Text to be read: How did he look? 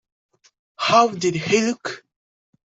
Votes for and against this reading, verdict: 2, 0, accepted